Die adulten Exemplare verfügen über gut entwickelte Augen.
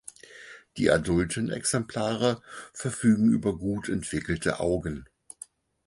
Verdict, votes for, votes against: accepted, 4, 0